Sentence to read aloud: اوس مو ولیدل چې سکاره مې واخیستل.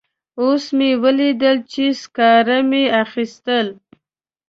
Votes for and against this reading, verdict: 1, 2, rejected